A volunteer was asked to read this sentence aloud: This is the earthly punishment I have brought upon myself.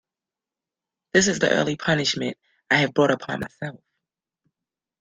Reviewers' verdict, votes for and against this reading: rejected, 0, 2